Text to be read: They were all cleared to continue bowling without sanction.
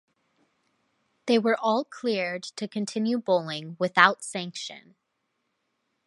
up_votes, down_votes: 2, 0